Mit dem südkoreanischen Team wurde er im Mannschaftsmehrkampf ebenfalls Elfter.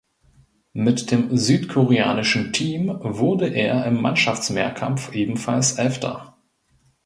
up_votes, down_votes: 2, 0